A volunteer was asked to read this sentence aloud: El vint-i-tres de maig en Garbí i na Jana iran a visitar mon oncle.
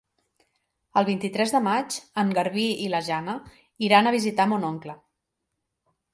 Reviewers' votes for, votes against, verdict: 0, 2, rejected